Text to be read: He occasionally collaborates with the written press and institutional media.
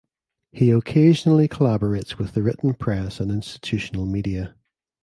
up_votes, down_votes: 2, 0